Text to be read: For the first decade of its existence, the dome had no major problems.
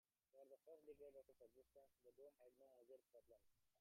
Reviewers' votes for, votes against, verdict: 0, 2, rejected